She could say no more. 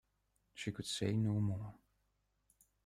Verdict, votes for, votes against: accepted, 2, 0